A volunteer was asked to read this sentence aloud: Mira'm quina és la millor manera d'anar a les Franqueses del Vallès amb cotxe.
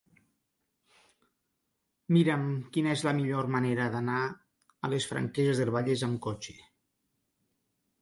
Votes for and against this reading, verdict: 2, 0, accepted